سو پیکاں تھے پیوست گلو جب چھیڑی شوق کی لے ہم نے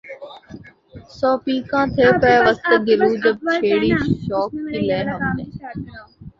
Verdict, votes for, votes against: rejected, 0, 2